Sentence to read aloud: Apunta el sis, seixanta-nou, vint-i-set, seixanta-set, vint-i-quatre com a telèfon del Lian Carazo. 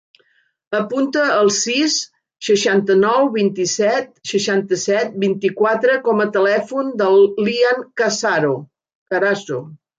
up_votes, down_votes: 1, 2